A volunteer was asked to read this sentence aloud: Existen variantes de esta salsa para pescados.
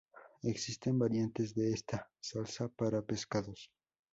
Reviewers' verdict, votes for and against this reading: accepted, 2, 0